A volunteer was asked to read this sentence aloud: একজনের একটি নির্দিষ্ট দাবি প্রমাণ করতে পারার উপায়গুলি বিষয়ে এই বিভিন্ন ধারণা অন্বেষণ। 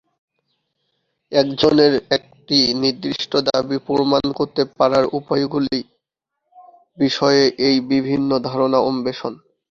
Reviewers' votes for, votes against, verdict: 2, 5, rejected